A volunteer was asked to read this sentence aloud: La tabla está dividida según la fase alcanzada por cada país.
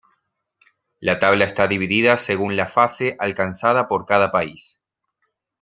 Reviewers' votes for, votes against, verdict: 2, 0, accepted